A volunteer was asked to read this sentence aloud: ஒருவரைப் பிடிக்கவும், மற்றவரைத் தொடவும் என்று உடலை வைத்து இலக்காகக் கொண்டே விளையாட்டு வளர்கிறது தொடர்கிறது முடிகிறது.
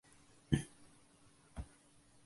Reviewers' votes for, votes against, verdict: 0, 2, rejected